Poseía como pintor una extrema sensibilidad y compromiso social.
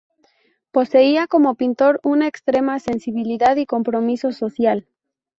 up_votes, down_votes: 2, 0